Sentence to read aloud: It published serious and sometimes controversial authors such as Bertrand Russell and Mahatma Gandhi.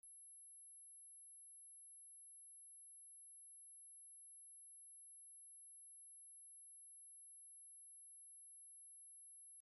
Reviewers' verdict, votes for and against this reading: rejected, 0, 2